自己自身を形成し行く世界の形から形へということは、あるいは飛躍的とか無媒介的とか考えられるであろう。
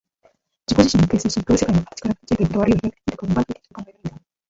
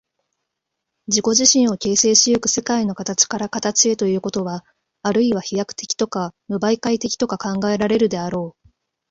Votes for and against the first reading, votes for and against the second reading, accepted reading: 0, 2, 2, 0, second